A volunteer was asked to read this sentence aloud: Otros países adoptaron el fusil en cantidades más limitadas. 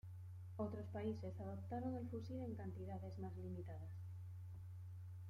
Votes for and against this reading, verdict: 1, 2, rejected